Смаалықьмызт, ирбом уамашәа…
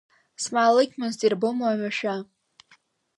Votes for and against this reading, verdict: 1, 2, rejected